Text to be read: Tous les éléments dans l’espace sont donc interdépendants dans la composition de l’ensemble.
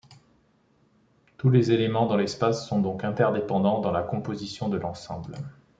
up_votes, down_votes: 2, 0